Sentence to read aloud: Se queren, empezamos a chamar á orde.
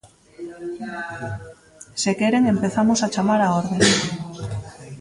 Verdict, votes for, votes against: rejected, 1, 2